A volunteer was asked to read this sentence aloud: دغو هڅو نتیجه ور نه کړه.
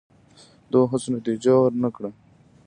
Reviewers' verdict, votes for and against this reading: rejected, 1, 2